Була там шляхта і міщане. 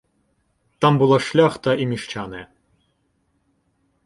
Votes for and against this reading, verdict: 1, 2, rejected